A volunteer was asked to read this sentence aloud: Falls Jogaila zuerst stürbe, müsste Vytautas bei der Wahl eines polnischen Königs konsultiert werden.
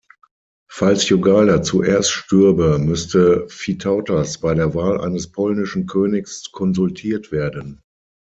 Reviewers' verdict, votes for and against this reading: accepted, 6, 0